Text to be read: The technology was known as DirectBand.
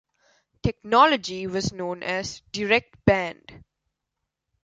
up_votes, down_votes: 2, 3